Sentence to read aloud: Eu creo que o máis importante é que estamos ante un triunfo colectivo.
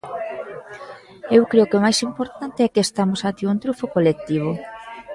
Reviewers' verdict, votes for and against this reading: accepted, 2, 0